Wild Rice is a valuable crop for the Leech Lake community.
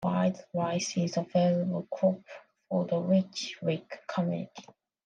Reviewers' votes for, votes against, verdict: 2, 1, accepted